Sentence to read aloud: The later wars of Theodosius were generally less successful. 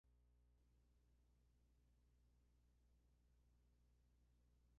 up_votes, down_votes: 0, 2